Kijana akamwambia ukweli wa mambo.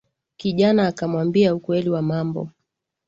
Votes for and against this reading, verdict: 7, 2, accepted